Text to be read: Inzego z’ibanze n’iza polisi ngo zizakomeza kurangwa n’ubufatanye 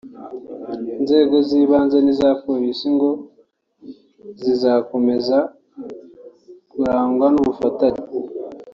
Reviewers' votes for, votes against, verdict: 1, 2, rejected